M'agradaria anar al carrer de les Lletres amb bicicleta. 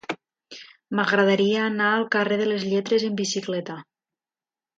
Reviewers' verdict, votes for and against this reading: accepted, 2, 0